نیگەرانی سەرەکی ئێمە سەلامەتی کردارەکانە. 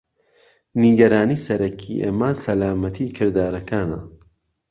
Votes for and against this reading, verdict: 2, 0, accepted